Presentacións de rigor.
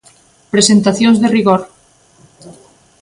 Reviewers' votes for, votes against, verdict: 2, 0, accepted